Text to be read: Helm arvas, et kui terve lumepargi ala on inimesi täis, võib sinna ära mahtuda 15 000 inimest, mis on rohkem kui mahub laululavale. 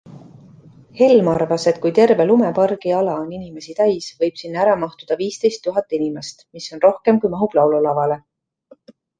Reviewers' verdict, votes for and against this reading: rejected, 0, 2